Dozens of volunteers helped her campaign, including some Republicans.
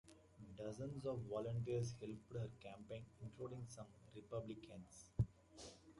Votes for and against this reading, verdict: 2, 0, accepted